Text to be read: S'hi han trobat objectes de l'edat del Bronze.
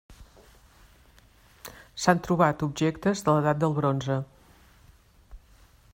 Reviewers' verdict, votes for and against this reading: rejected, 1, 2